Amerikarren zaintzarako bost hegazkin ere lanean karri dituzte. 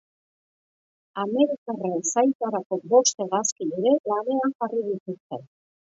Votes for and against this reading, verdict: 2, 0, accepted